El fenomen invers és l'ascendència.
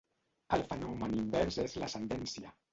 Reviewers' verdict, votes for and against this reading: rejected, 1, 2